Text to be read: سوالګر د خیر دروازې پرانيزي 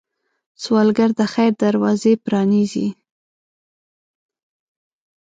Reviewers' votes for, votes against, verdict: 2, 0, accepted